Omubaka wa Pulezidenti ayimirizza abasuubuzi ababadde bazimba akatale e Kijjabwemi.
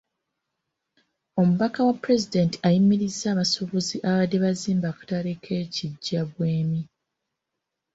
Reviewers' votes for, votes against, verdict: 2, 0, accepted